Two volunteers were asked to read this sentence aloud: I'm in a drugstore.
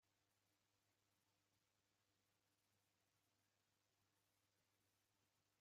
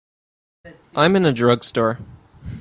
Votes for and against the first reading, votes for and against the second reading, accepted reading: 0, 2, 2, 0, second